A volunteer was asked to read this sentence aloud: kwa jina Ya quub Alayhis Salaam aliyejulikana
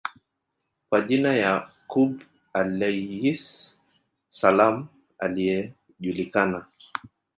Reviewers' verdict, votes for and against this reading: rejected, 0, 2